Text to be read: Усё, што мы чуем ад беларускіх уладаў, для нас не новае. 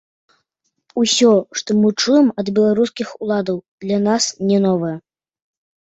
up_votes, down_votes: 0, 2